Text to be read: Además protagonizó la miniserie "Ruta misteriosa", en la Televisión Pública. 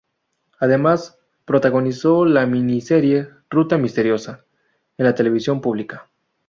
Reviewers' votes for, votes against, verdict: 0, 2, rejected